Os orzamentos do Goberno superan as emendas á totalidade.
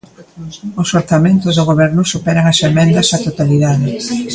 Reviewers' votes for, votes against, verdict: 0, 2, rejected